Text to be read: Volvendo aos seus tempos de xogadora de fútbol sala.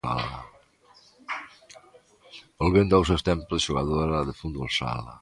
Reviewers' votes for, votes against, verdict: 2, 0, accepted